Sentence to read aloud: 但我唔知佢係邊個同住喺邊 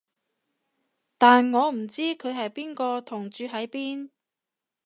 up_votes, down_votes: 2, 0